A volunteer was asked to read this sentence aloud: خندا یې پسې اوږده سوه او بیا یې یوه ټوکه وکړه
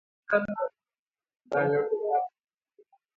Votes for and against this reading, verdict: 0, 2, rejected